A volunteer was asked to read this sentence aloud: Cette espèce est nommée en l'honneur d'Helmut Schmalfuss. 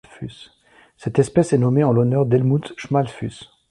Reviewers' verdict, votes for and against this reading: rejected, 0, 2